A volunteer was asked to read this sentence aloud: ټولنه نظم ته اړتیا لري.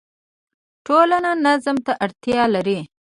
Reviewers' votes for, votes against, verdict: 1, 2, rejected